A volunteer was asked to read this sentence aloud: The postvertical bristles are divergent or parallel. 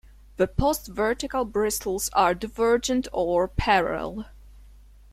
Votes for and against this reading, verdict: 1, 2, rejected